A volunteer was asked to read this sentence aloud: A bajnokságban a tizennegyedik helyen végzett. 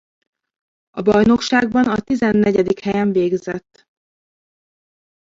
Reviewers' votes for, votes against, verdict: 1, 2, rejected